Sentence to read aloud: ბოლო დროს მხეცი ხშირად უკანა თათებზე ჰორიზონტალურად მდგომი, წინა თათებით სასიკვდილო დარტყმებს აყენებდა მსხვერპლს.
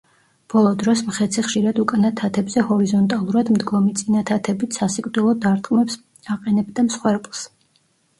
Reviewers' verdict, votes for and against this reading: rejected, 0, 2